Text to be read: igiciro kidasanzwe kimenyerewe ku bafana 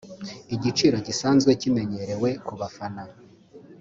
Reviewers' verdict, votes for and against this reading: accepted, 2, 0